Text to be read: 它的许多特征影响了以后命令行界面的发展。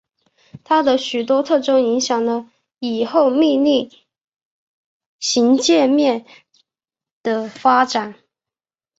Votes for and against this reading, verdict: 1, 2, rejected